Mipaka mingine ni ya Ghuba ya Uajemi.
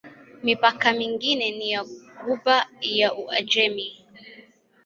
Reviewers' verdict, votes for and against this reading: accepted, 2, 0